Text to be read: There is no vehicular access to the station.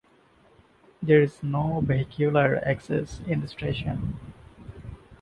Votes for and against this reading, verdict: 0, 2, rejected